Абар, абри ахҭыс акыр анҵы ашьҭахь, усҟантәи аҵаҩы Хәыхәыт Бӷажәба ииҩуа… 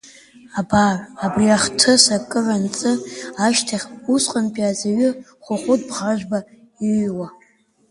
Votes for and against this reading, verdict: 2, 1, accepted